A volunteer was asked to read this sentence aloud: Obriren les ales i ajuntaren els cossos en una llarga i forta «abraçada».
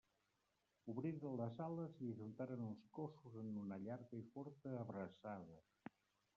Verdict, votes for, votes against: rejected, 0, 2